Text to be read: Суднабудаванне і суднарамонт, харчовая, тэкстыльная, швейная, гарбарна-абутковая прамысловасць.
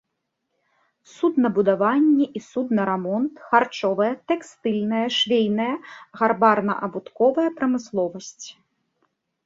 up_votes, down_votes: 2, 0